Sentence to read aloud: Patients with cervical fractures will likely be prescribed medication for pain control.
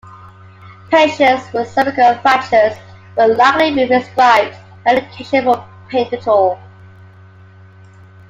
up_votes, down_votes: 2, 0